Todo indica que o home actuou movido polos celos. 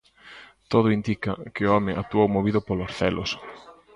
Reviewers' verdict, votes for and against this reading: accepted, 2, 1